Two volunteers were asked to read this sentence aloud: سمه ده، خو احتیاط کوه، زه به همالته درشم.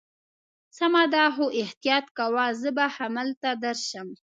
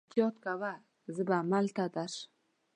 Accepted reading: first